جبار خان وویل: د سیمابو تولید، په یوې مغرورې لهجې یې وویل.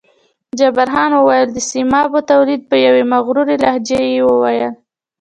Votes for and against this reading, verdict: 1, 2, rejected